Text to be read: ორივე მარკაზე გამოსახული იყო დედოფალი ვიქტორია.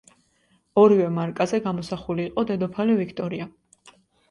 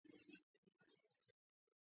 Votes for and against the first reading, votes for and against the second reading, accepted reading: 2, 0, 0, 2, first